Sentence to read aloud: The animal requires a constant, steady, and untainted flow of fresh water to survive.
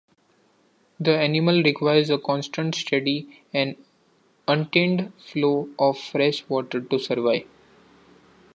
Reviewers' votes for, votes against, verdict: 2, 0, accepted